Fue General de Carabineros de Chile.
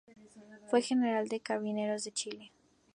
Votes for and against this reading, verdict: 2, 0, accepted